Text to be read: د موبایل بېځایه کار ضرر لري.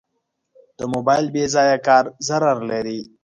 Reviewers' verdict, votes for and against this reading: accepted, 2, 1